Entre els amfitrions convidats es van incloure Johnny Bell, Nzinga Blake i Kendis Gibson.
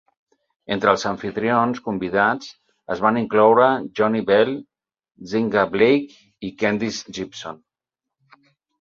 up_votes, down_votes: 4, 0